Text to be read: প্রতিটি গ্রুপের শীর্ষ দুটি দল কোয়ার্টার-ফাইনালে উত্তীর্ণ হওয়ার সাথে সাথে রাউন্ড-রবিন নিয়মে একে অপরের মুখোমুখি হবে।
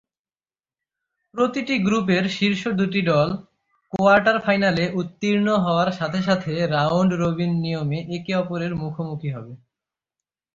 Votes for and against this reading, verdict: 3, 3, rejected